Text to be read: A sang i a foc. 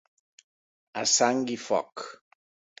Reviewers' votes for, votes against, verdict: 2, 3, rejected